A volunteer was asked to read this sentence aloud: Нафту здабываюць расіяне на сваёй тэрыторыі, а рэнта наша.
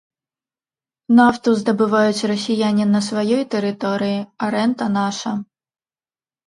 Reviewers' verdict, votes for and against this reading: accepted, 2, 0